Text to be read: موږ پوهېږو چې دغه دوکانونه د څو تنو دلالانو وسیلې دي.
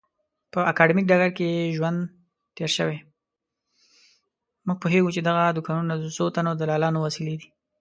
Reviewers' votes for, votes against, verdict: 1, 2, rejected